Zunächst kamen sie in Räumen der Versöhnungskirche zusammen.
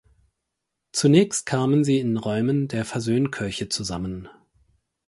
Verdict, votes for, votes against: rejected, 0, 4